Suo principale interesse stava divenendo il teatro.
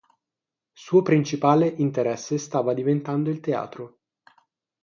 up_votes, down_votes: 3, 3